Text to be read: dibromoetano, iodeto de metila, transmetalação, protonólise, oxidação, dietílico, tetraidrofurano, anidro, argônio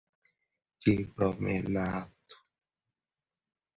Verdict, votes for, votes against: rejected, 0, 2